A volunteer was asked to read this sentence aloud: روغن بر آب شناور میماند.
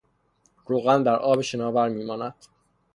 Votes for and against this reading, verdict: 0, 3, rejected